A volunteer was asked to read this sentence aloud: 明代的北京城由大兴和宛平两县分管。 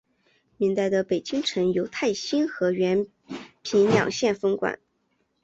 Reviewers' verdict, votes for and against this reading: accepted, 2, 0